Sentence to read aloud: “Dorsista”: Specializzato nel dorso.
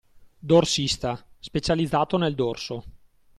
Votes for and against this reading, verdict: 2, 0, accepted